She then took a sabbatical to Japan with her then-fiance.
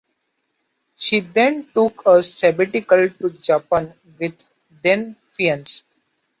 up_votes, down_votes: 1, 3